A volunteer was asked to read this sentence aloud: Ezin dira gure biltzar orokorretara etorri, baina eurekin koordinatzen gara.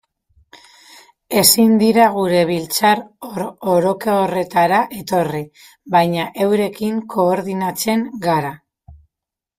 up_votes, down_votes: 0, 2